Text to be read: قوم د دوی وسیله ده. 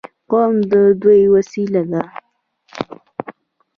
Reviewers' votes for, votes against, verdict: 3, 0, accepted